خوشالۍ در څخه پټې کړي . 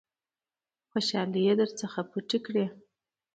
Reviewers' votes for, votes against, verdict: 2, 0, accepted